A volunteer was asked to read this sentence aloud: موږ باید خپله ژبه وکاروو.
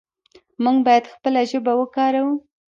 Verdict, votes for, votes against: rejected, 0, 2